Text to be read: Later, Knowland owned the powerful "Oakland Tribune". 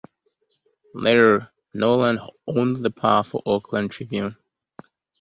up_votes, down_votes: 2, 0